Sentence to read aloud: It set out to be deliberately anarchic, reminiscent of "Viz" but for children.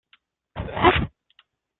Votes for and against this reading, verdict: 0, 2, rejected